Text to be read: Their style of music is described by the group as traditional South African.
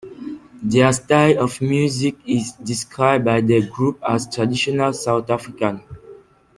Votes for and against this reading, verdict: 2, 0, accepted